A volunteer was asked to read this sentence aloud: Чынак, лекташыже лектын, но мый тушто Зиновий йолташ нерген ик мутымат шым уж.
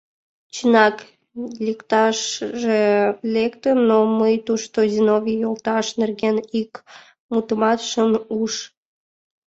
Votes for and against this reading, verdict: 2, 0, accepted